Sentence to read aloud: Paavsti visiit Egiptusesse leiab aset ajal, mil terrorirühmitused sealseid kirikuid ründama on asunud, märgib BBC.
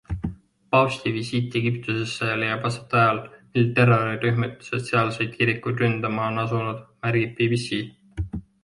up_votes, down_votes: 2, 0